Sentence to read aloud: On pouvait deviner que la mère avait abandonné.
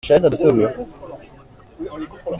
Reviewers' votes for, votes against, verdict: 0, 2, rejected